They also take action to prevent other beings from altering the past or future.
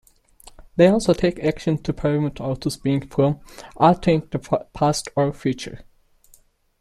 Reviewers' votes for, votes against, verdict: 0, 2, rejected